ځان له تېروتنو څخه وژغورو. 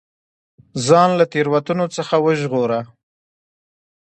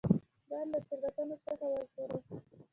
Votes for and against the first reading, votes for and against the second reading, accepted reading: 2, 1, 1, 3, first